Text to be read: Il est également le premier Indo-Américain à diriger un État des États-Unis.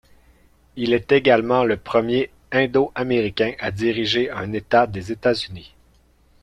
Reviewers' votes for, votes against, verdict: 3, 1, accepted